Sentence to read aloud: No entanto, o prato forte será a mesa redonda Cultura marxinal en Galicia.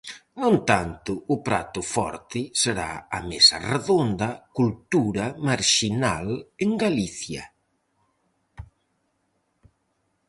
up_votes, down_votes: 4, 0